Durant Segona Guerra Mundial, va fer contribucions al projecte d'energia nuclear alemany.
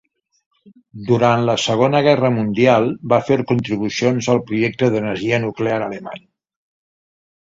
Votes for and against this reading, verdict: 1, 2, rejected